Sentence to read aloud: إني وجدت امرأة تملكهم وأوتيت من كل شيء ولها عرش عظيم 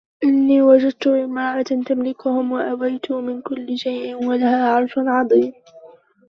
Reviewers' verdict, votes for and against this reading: rejected, 0, 2